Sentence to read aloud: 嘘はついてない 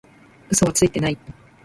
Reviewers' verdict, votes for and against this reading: accepted, 2, 0